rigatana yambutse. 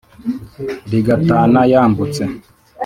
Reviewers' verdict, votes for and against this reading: accepted, 3, 0